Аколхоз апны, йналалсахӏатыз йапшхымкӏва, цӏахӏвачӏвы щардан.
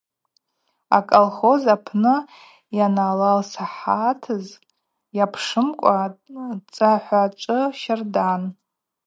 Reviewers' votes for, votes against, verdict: 2, 0, accepted